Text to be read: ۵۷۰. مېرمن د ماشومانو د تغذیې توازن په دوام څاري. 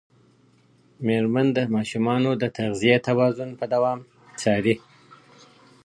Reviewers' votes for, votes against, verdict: 0, 2, rejected